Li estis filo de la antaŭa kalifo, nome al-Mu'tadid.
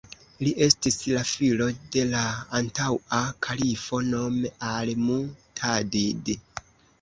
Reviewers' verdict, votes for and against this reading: rejected, 0, 2